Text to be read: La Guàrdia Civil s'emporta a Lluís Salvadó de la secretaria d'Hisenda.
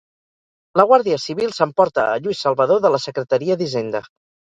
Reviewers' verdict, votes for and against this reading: rejected, 0, 2